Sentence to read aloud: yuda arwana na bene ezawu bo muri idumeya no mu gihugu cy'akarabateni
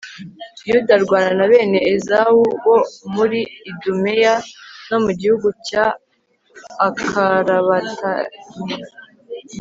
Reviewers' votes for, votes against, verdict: 1, 2, rejected